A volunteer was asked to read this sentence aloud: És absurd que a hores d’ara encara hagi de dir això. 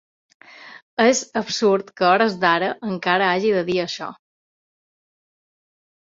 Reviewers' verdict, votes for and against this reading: accepted, 2, 0